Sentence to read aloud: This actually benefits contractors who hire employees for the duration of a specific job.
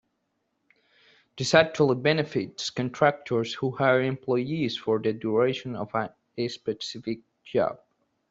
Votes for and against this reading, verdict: 2, 0, accepted